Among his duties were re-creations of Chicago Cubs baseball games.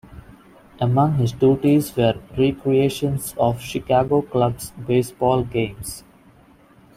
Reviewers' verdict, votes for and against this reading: rejected, 0, 2